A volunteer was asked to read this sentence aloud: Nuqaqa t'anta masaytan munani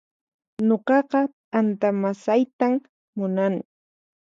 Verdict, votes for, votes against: accepted, 4, 0